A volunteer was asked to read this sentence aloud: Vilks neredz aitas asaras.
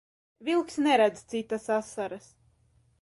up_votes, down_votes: 0, 2